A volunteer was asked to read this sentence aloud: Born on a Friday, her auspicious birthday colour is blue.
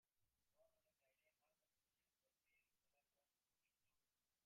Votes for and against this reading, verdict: 0, 2, rejected